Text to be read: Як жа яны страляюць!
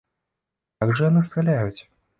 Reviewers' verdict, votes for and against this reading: rejected, 1, 2